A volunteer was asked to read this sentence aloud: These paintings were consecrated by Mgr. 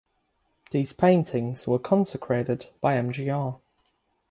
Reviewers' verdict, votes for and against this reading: accepted, 6, 0